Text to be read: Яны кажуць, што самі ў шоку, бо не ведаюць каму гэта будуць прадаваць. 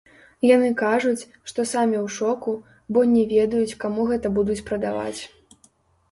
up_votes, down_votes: 0, 2